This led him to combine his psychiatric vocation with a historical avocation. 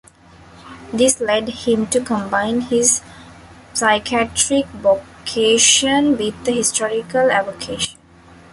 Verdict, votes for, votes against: rejected, 0, 2